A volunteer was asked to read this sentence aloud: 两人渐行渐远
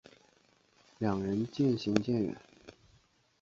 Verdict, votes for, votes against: accepted, 2, 0